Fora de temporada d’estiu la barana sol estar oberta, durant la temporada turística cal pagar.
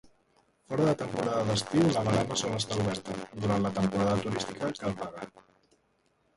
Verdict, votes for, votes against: rejected, 0, 2